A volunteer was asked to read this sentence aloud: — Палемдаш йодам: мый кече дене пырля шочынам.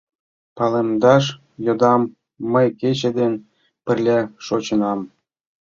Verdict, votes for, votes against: accepted, 2, 1